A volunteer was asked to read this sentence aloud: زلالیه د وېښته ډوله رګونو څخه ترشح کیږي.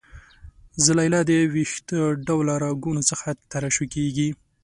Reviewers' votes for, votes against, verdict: 2, 1, accepted